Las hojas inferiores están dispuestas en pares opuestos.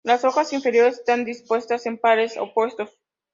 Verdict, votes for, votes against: accepted, 2, 0